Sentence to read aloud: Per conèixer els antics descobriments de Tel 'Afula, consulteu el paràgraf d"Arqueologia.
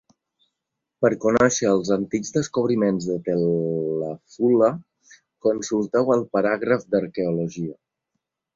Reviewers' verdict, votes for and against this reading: rejected, 1, 2